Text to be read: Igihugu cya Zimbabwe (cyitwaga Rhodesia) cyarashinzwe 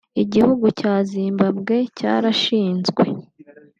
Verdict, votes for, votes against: rejected, 0, 2